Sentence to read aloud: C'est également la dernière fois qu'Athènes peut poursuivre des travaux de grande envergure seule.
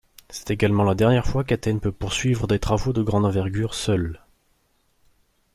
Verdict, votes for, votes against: accepted, 2, 0